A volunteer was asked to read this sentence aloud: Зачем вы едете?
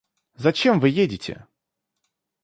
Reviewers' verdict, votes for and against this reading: accepted, 2, 0